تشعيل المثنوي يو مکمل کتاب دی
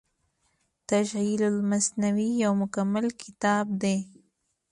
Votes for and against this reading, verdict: 2, 0, accepted